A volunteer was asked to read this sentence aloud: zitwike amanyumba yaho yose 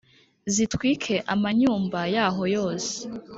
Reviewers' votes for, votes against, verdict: 2, 0, accepted